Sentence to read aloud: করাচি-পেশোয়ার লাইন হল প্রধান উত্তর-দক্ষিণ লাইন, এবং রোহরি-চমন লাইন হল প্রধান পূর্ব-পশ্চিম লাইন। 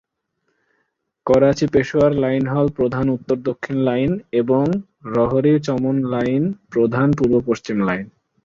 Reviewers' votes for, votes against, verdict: 5, 7, rejected